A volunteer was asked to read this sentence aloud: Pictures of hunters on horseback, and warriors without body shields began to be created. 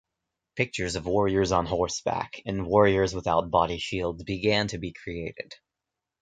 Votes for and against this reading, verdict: 1, 2, rejected